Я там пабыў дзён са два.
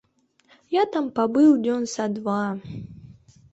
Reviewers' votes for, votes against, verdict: 2, 0, accepted